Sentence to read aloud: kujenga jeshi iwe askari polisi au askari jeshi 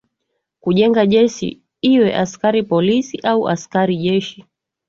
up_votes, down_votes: 2, 1